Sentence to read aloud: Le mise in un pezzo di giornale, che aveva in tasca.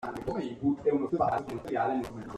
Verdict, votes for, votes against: rejected, 0, 2